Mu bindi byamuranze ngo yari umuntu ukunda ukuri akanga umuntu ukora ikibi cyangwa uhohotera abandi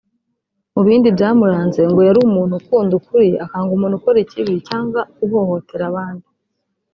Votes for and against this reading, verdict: 2, 0, accepted